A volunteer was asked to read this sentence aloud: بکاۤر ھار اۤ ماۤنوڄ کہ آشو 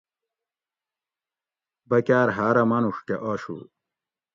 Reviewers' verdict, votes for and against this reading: accepted, 2, 0